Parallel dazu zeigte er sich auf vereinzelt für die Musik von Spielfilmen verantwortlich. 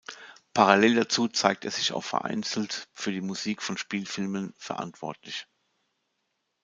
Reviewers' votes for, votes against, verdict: 0, 2, rejected